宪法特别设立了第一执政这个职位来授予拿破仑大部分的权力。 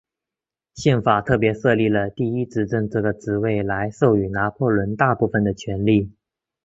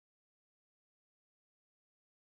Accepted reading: first